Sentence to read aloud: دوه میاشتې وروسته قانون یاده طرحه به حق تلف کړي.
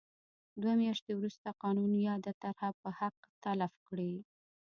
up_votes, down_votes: 1, 2